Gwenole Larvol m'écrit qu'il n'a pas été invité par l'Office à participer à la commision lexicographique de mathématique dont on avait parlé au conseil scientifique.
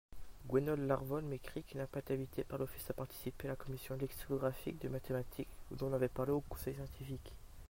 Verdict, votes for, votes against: accepted, 2, 0